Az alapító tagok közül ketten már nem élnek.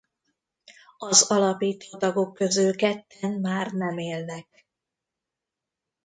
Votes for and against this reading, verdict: 1, 2, rejected